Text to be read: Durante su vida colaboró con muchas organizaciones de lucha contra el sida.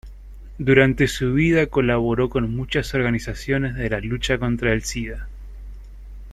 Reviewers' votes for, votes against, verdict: 0, 2, rejected